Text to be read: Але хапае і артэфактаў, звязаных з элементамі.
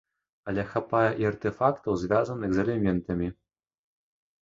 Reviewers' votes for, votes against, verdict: 0, 2, rejected